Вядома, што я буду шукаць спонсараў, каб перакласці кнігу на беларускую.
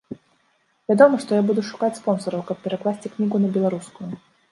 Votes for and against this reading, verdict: 0, 2, rejected